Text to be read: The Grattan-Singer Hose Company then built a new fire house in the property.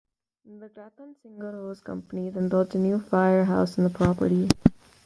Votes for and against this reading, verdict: 1, 2, rejected